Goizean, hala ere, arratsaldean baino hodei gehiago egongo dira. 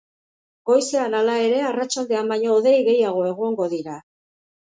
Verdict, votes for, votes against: accepted, 3, 0